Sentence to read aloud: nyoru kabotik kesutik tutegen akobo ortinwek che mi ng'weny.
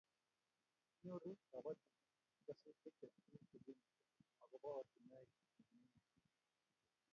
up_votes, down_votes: 0, 3